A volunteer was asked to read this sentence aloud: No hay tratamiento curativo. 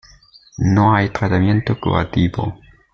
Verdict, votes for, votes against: accepted, 2, 0